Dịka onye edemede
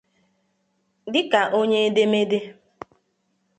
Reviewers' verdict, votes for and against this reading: accepted, 2, 0